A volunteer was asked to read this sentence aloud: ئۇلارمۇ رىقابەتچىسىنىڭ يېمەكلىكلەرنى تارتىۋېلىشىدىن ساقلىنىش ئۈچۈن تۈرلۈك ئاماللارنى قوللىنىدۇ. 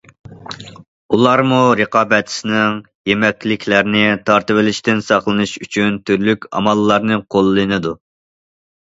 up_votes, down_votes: 2, 0